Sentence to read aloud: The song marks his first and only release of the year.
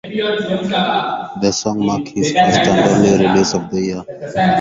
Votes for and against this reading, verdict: 0, 4, rejected